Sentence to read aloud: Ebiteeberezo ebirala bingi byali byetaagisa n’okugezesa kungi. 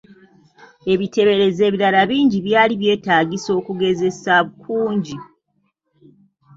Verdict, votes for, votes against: rejected, 0, 2